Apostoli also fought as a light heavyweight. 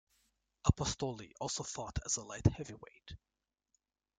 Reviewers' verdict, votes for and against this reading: rejected, 0, 2